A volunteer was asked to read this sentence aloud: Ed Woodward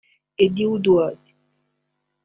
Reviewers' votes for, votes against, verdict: 1, 2, rejected